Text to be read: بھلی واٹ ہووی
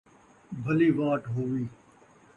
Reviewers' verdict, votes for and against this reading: accepted, 2, 0